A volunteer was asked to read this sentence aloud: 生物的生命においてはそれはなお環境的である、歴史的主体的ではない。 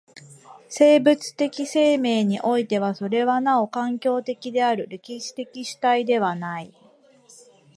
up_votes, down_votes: 0, 2